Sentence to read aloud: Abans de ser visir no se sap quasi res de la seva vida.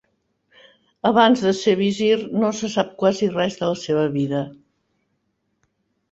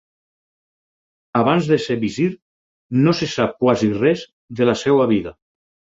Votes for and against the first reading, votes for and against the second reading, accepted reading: 4, 0, 2, 4, first